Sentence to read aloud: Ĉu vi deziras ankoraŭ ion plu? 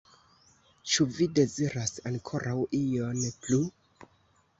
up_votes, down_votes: 2, 1